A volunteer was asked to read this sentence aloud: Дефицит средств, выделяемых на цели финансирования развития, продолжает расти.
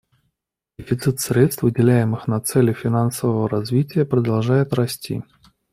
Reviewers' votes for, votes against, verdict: 0, 2, rejected